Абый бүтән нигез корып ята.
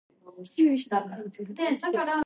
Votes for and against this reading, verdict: 0, 2, rejected